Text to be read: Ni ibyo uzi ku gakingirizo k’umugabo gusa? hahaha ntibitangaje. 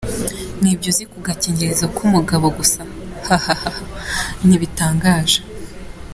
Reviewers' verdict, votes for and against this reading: accepted, 2, 0